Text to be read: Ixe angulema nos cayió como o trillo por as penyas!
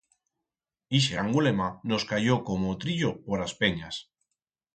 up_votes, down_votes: 4, 0